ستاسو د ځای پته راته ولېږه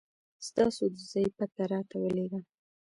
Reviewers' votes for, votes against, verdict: 2, 1, accepted